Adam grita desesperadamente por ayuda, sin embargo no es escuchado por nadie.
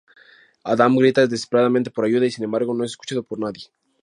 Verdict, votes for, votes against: rejected, 0, 2